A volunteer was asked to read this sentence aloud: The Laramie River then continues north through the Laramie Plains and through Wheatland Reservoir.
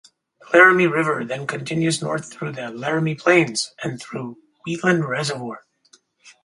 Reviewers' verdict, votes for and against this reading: accepted, 4, 0